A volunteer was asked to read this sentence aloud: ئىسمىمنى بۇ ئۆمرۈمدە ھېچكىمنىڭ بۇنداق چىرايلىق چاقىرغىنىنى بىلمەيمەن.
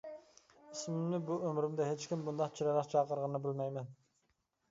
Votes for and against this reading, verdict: 1, 2, rejected